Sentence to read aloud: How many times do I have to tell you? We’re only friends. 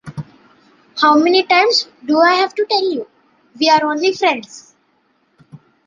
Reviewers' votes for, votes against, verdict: 2, 0, accepted